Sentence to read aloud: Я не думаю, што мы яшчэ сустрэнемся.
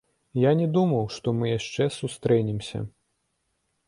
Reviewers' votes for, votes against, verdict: 1, 2, rejected